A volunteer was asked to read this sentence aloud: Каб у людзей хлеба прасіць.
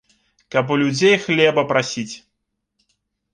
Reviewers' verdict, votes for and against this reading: accepted, 2, 0